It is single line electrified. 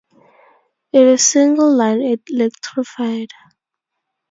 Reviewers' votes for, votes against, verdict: 2, 0, accepted